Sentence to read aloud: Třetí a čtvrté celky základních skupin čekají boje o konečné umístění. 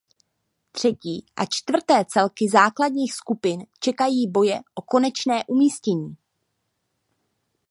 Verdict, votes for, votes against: accepted, 2, 0